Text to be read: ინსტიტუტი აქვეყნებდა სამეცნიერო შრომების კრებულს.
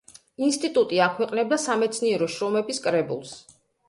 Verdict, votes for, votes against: accepted, 2, 0